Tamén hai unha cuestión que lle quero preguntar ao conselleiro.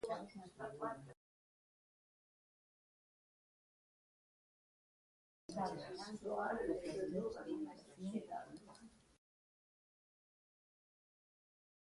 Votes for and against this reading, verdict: 0, 2, rejected